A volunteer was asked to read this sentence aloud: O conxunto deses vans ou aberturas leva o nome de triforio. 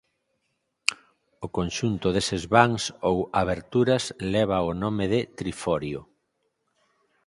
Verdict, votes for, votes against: accepted, 4, 0